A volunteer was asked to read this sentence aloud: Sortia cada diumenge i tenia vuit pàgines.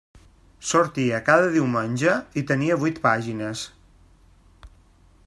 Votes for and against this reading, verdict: 3, 0, accepted